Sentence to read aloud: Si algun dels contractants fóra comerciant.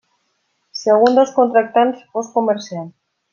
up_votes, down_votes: 0, 2